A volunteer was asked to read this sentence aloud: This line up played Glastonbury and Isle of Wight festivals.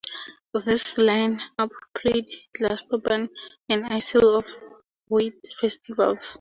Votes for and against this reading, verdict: 0, 2, rejected